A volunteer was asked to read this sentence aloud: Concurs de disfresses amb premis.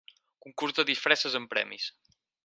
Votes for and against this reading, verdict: 4, 0, accepted